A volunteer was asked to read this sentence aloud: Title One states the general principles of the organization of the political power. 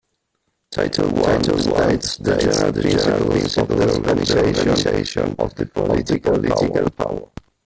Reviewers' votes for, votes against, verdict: 1, 2, rejected